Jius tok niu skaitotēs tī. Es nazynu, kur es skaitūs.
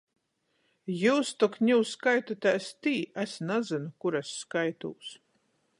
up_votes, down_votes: 14, 0